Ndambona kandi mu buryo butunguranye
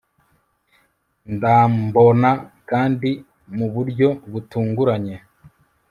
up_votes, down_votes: 1, 2